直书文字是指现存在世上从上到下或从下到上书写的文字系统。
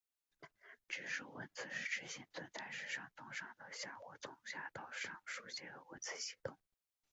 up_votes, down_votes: 3, 1